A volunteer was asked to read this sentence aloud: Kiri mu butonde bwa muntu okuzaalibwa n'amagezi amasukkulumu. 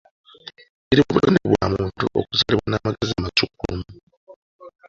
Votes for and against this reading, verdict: 0, 2, rejected